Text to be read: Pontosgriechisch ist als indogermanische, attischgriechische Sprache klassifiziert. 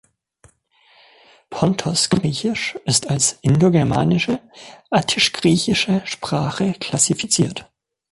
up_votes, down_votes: 2, 0